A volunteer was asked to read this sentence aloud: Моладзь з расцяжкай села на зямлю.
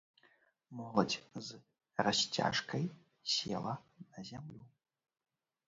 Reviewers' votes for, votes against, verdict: 0, 2, rejected